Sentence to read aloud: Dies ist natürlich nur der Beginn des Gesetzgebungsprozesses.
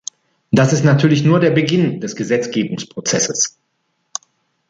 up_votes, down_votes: 1, 2